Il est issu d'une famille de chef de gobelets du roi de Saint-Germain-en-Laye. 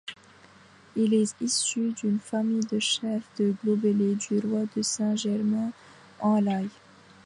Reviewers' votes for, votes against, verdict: 1, 2, rejected